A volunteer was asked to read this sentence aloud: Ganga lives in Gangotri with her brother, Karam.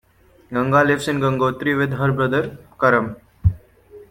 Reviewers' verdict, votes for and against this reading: accepted, 2, 0